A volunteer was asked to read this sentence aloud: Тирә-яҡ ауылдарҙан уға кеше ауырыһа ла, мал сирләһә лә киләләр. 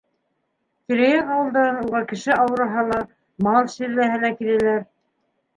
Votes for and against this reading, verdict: 1, 2, rejected